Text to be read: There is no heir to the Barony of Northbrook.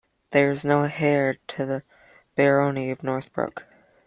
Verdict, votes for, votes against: rejected, 1, 2